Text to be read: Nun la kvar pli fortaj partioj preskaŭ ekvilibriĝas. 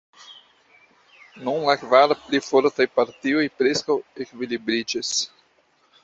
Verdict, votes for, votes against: rejected, 0, 2